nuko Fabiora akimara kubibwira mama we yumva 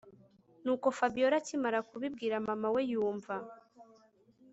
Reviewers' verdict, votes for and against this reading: rejected, 1, 2